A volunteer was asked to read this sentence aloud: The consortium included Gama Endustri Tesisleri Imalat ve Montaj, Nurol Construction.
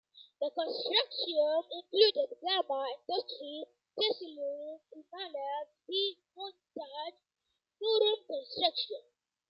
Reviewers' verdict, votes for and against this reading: accepted, 2, 0